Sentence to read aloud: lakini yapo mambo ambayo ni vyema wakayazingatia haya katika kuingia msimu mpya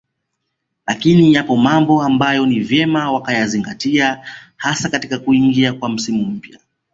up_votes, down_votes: 0, 2